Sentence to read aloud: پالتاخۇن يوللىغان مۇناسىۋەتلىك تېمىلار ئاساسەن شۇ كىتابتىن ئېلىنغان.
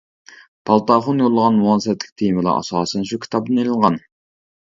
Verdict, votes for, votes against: rejected, 0, 2